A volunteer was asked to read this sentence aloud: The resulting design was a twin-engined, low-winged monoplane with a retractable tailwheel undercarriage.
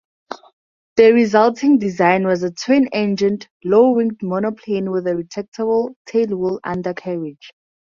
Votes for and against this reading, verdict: 4, 0, accepted